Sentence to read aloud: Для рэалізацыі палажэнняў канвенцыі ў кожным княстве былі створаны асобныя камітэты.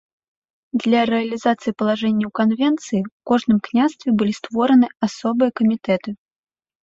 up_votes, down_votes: 1, 2